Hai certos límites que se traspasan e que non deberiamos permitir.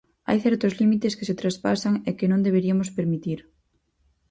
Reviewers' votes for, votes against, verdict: 2, 4, rejected